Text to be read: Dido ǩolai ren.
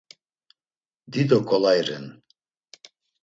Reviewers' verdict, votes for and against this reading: accepted, 2, 0